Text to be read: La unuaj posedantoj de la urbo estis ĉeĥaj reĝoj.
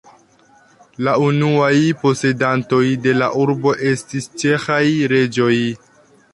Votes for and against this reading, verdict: 2, 0, accepted